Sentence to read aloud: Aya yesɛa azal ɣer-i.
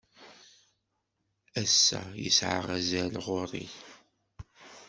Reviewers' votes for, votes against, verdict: 0, 2, rejected